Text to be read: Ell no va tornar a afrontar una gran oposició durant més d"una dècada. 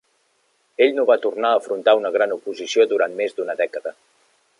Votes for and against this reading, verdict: 2, 0, accepted